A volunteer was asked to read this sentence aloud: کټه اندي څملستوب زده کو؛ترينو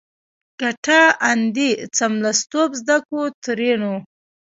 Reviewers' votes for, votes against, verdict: 2, 0, accepted